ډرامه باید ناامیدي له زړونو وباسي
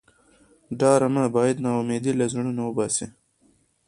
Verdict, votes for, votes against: accepted, 2, 0